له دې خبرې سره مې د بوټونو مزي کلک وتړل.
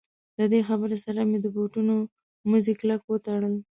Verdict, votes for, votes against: accepted, 2, 0